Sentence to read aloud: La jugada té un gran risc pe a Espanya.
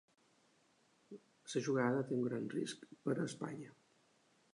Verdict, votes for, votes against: rejected, 0, 2